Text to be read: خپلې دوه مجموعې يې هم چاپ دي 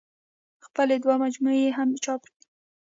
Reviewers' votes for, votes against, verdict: 2, 0, accepted